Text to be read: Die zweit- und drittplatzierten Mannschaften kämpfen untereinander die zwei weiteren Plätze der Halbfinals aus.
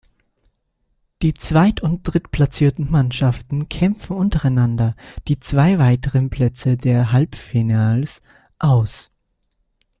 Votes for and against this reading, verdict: 2, 0, accepted